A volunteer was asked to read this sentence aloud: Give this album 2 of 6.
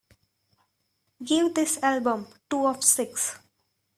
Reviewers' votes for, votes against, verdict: 0, 2, rejected